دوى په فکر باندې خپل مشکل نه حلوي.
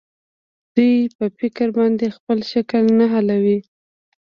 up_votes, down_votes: 0, 2